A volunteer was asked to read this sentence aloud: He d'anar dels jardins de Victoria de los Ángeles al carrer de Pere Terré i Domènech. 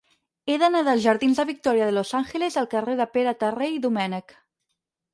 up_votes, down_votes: 4, 0